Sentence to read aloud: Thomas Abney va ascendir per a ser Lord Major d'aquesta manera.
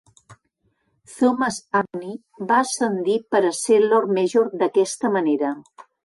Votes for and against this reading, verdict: 3, 0, accepted